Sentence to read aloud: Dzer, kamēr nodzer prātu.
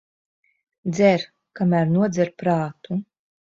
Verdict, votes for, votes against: accepted, 2, 0